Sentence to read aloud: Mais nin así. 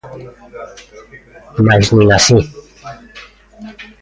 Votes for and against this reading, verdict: 2, 0, accepted